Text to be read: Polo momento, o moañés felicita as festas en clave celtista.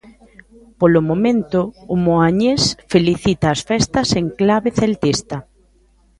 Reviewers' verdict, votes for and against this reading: rejected, 1, 2